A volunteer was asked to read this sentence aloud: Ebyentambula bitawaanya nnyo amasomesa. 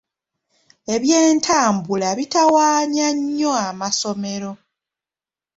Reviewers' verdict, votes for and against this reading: rejected, 1, 2